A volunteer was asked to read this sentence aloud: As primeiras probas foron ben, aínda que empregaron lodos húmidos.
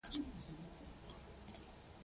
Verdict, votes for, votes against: rejected, 0, 2